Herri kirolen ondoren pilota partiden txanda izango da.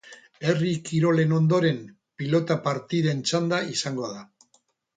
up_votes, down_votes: 4, 0